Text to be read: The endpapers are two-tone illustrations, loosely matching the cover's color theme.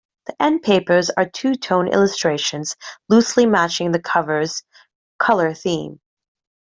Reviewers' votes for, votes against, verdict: 1, 2, rejected